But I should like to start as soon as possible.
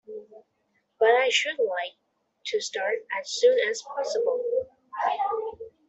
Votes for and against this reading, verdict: 2, 0, accepted